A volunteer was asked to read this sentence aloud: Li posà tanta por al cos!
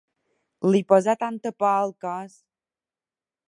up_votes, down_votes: 3, 1